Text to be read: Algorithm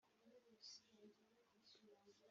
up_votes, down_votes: 0, 2